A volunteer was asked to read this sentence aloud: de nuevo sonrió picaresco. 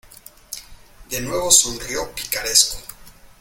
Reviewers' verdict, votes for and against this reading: accepted, 2, 0